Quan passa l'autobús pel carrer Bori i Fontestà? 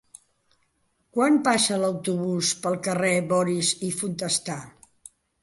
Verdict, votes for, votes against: rejected, 0, 2